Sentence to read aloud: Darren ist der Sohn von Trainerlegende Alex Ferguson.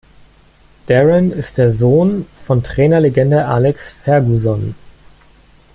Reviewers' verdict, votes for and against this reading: rejected, 1, 2